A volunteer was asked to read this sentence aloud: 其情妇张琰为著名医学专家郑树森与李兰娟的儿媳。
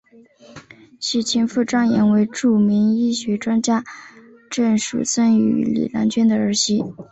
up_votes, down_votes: 2, 0